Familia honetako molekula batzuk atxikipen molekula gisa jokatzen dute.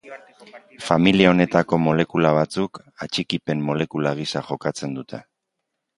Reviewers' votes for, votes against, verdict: 2, 0, accepted